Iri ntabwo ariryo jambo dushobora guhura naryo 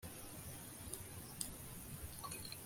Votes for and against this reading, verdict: 0, 2, rejected